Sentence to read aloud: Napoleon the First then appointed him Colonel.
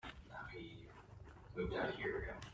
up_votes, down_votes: 0, 2